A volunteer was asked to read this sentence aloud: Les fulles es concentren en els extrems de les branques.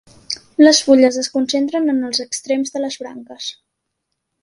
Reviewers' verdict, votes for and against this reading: accepted, 4, 0